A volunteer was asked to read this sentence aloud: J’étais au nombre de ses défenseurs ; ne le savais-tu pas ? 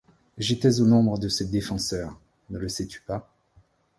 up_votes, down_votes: 0, 2